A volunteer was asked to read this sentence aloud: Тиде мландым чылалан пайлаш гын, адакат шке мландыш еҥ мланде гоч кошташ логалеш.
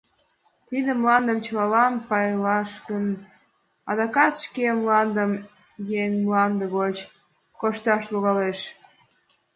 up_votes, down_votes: 2, 0